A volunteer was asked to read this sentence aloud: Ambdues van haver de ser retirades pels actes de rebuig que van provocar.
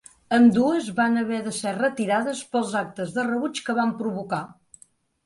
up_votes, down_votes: 2, 0